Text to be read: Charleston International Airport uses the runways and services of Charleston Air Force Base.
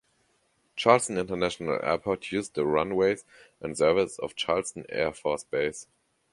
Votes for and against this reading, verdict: 1, 2, rejected